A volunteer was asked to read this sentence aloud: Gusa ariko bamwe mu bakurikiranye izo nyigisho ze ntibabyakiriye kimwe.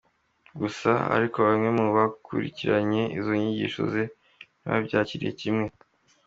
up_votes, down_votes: 2, 1